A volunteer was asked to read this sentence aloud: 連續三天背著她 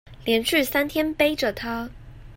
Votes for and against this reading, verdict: 1, 2, rejected